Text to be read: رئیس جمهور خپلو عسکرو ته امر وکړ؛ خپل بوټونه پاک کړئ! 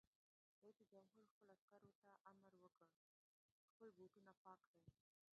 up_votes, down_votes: 0, 2